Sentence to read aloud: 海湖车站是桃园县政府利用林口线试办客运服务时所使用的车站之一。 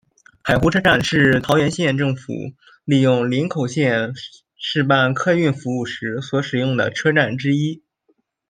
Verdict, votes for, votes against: accepted, 2, 0